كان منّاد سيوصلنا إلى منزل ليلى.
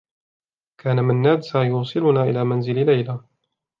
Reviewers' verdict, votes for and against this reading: accepted, 2, 0